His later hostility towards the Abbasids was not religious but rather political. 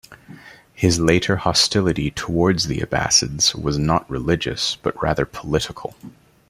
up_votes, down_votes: 2, 0